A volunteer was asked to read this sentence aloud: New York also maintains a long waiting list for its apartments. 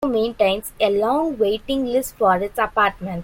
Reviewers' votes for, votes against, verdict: 0, 2, rejected